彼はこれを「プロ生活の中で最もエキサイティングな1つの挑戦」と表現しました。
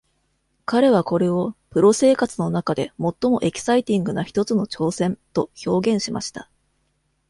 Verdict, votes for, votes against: rejected, 0, 2